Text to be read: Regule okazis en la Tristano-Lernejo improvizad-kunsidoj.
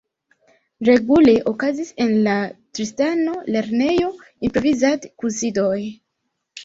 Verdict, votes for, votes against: rejected, 1, 2